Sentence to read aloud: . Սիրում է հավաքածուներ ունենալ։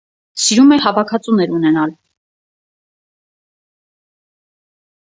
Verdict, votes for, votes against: accepted, 4, 2